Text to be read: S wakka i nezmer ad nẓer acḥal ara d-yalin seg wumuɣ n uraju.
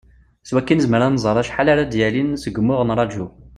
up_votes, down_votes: 2, 0